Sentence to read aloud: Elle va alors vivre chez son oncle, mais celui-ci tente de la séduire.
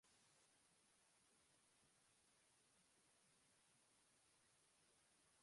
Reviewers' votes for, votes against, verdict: 0, 2, rejected